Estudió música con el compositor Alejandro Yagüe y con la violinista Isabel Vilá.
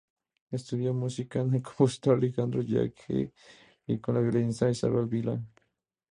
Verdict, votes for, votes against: rejected, 2, 2